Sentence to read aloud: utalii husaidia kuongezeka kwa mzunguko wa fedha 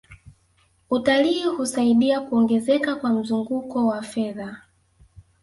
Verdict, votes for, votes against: accepted, 2, 1